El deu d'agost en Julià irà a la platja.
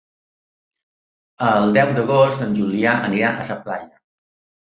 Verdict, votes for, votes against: rejected, 2, 3